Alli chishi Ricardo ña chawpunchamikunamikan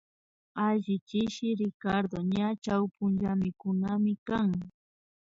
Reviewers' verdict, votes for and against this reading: rejected, 0, 2